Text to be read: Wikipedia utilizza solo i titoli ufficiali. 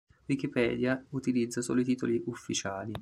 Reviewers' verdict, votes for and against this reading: accepted, 2, 0